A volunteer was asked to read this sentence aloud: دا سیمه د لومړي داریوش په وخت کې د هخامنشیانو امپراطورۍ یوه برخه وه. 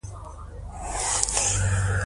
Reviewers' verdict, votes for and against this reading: accepted, 2, 0